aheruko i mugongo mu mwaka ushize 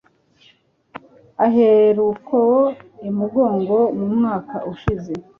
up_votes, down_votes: 3, 0